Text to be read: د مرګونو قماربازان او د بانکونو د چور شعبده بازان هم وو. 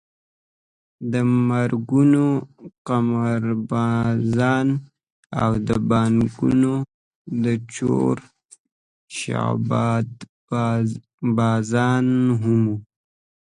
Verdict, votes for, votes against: rejected, 0, 2